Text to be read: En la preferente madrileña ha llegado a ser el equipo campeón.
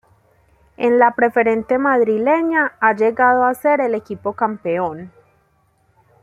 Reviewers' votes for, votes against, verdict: 0, 2, rejected